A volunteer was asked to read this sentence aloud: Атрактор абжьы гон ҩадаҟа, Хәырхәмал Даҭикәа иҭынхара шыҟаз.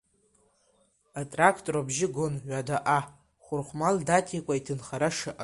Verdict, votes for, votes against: accepted, 2, 0